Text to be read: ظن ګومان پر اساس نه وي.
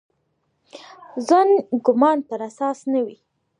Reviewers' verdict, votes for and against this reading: accepted, 2, 0